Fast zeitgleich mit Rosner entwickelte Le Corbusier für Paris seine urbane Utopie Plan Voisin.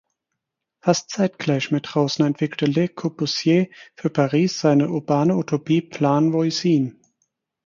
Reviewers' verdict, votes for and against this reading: accepted, 4, 0